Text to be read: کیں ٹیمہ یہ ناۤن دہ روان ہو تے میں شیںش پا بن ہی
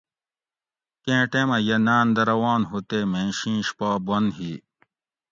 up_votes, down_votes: 2, 0